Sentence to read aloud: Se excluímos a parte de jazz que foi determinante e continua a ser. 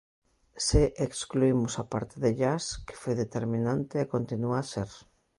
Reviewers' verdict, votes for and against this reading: accepted, 2, 0